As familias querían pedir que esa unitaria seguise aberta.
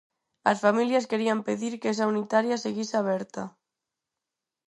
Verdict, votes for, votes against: accepted, 4, 0